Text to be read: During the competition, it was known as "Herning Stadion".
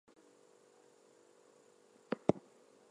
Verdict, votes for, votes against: accepted, 2, 0